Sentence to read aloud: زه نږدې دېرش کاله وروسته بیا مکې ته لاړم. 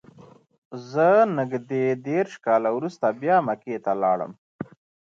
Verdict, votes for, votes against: rejected, 1, 2